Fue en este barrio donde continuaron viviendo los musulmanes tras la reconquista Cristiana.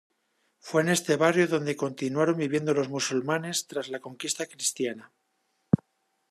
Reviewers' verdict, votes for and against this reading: rejected, 0, 2